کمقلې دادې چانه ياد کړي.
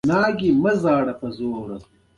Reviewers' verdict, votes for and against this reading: accepted, 2, 0